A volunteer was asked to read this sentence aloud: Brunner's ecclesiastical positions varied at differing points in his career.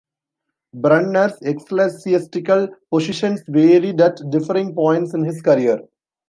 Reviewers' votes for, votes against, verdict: 1, 2, rejected